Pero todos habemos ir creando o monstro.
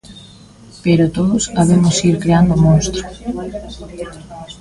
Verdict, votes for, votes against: rejected, 1, 2